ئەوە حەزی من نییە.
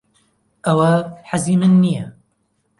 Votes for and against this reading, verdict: 2, 0, accepted